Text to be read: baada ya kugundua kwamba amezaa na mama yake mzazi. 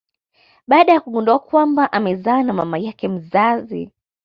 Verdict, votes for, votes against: accepted, 2, 0